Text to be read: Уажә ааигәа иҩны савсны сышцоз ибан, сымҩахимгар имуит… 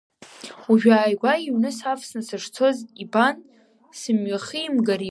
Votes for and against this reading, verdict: 1, 4, rejected